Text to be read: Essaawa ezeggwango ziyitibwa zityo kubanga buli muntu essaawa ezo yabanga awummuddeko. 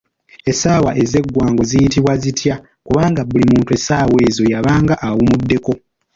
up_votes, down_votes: 2, 0